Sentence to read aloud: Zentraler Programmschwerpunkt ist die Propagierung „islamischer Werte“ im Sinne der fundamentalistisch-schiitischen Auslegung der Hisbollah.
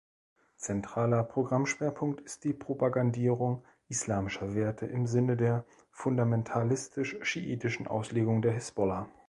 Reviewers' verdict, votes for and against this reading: rejected, 1, 2